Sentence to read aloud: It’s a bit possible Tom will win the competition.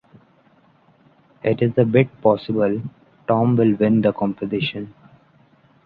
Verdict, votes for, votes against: rejected, 1, 2